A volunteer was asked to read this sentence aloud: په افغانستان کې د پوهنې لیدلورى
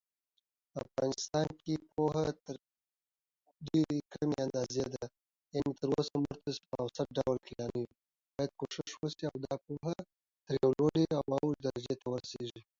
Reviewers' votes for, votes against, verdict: 0, 2, rejected